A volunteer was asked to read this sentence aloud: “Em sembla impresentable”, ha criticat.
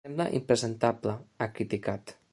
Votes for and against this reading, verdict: 1, 3, rejected